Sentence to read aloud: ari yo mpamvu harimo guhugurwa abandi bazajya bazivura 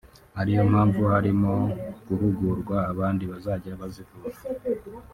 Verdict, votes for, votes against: rejected, 0, 2